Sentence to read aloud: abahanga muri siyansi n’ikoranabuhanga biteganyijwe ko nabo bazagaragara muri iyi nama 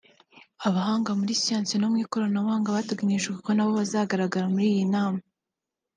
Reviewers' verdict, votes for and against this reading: rejected, 0, 2